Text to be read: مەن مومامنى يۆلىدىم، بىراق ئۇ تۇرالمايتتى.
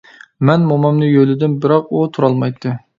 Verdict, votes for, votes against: accepted, 2, 0